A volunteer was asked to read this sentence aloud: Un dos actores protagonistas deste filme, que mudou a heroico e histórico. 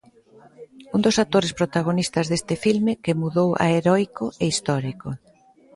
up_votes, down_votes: 3, 0